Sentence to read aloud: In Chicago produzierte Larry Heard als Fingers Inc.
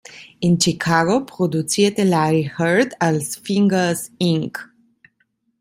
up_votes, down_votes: 2, 0